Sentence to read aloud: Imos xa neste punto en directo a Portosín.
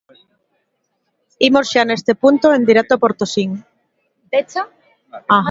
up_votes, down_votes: 1, 2